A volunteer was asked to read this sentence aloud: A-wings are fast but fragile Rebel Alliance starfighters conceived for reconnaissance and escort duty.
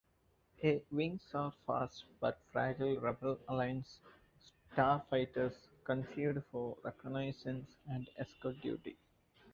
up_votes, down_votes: 1, 2